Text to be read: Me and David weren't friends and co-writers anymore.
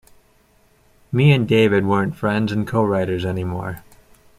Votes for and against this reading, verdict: 2, 0, accepted